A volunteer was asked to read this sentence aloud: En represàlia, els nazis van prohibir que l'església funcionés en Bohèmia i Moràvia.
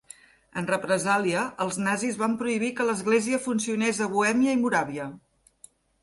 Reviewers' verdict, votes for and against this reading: rejected, 0, 2